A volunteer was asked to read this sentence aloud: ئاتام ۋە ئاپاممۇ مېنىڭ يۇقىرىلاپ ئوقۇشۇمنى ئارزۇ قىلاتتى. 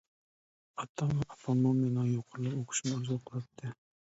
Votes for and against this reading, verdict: 0, 2, rejected